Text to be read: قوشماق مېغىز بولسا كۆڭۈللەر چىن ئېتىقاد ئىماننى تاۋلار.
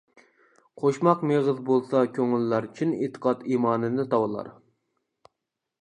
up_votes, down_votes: 0, 2